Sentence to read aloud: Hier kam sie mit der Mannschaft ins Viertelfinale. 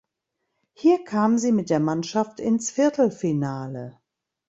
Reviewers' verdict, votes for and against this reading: accepted, 2, 0